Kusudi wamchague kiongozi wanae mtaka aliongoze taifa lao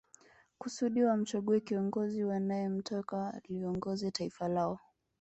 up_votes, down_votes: 2, 0